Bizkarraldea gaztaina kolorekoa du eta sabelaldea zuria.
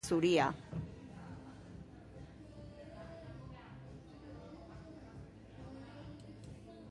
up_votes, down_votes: 0, 2